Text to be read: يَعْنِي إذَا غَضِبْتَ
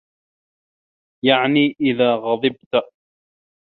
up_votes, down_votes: 2, 0